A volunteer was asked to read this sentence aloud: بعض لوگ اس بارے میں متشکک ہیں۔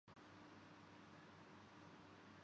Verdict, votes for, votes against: rejected, 0, 2